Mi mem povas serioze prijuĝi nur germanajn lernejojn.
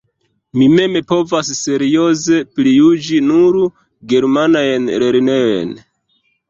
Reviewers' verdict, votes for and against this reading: rejected, 0, 2